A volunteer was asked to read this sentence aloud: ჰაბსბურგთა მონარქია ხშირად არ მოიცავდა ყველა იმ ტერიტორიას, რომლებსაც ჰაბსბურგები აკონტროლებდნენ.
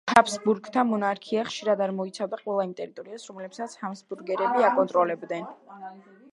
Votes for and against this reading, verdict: 1, 3, rejected